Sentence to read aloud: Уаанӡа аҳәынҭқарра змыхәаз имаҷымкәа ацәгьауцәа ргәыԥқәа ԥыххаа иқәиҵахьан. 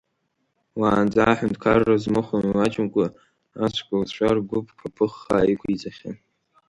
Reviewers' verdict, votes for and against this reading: rejected, 1, 2